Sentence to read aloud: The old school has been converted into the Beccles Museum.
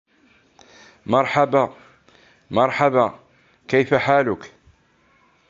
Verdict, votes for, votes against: rejected, 1, 3